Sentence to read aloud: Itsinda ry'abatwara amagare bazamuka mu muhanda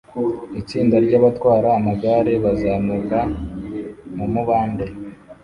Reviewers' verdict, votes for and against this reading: rejected, 1, 2